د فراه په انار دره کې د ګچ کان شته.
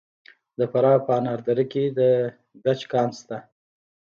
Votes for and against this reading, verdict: 1, 2, rejected